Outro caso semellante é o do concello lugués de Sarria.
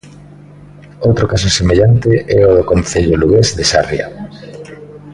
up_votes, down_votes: 1, 2